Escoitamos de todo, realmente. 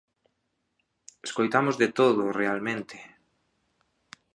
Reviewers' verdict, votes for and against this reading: accepted, 2, 0